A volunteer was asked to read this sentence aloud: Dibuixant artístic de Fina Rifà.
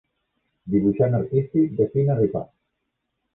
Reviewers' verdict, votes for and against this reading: rejected, 1, 3